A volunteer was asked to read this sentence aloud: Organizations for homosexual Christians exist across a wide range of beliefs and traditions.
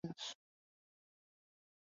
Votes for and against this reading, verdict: 0, 2, rejected